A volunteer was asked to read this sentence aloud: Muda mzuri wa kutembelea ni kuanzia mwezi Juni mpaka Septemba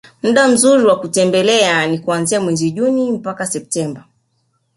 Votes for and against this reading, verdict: 1, 2, rejected